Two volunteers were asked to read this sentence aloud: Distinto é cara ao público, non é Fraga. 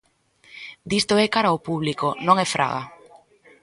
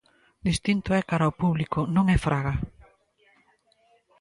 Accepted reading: second